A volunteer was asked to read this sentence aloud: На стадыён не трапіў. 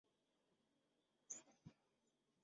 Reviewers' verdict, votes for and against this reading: rejected, 0, 2